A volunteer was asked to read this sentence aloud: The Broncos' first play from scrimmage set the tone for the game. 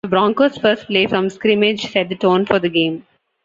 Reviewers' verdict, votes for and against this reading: accepted, 2, 0